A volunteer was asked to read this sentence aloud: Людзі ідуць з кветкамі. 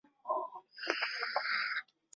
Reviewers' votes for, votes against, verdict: 0, 2, rejected